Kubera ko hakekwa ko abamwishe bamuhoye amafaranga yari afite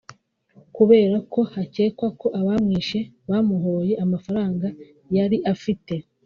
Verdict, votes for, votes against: accepted, 2, 0